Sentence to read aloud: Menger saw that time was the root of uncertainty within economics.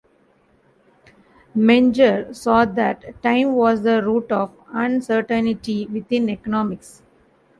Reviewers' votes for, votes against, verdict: 0, 2, rejected